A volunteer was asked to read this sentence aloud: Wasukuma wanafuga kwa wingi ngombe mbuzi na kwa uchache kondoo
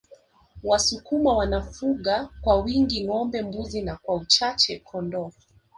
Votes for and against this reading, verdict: 0, 2, rejected